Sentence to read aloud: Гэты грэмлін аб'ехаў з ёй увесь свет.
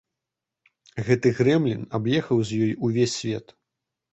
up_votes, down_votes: 2, 0